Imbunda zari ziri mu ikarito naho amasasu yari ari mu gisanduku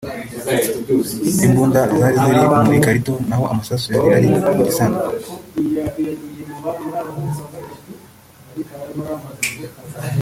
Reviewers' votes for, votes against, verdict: 0, 2, rejected